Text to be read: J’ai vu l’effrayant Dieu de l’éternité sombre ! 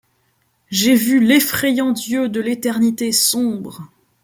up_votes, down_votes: 2, 0